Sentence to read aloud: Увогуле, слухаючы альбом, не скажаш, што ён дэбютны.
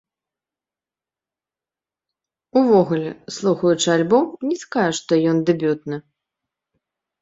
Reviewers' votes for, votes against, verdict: 2, 1, accepted